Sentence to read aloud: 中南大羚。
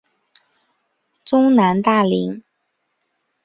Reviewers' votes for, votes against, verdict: 2, 0, accepted